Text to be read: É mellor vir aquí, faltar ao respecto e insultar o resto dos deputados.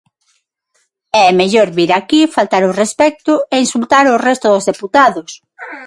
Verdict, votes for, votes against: rejected, 3, 6